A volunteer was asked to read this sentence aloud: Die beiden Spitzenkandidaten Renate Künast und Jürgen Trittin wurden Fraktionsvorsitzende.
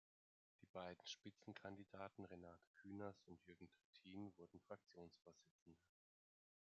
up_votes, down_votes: 1, 2